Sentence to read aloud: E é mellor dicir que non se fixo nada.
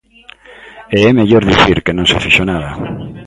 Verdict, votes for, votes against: rejected, 0, 2